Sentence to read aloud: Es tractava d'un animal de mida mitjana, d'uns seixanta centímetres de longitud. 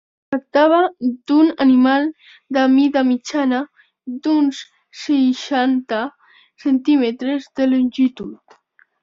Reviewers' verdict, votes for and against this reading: rejected, 1, 2